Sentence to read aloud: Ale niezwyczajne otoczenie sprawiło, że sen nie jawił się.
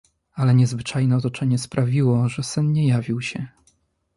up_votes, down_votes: 2, 0